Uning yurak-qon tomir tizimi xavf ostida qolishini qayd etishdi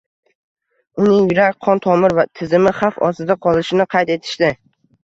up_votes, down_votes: 1, 2